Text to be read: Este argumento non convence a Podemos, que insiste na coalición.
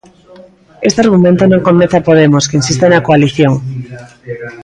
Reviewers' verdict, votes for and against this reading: accepted, 2, 1